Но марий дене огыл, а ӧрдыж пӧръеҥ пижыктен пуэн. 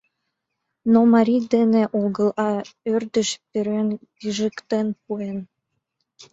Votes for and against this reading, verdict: 2, 0, accepted